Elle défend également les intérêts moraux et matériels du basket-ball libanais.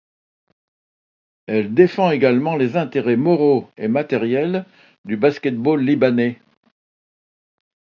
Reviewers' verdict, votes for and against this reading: accepted, 2, 0